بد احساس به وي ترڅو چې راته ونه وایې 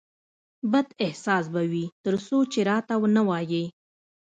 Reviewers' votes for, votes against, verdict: 1, 2, rejected